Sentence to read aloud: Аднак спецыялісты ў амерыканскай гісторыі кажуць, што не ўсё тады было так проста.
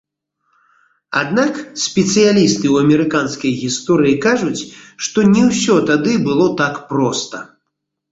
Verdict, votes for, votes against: accepted, 2, 0